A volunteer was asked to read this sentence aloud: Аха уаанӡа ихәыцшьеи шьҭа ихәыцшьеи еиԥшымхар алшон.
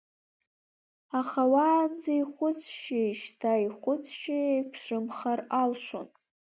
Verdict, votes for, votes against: rejected, 1, 2